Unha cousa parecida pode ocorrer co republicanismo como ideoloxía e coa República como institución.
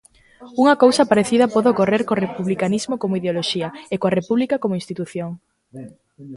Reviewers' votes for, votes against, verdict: 0, 2, rejected